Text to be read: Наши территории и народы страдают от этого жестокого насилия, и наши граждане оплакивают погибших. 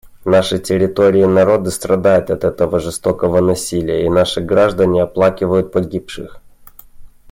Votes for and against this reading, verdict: 2, 0, accepted